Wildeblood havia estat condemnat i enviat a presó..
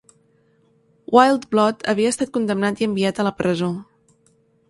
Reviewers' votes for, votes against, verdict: 1, 2, rejected